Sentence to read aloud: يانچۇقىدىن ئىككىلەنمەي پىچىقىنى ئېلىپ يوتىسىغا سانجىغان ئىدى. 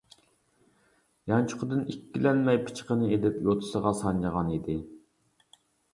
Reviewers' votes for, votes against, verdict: 2, 0, accepted